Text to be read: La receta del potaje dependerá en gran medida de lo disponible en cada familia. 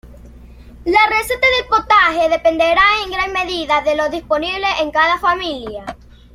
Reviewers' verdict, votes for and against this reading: rejected, 1, 2